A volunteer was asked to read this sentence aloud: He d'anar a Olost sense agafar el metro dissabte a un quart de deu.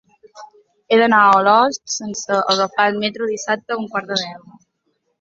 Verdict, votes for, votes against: accepted, 2, 0